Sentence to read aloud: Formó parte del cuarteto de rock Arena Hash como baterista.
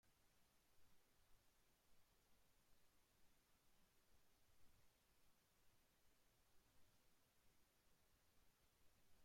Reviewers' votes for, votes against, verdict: 1, 2, rejected